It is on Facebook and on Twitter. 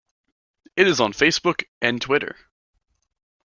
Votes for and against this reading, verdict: 0, 2, rejected